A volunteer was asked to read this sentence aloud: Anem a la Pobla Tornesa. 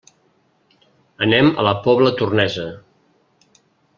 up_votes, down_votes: 3, 0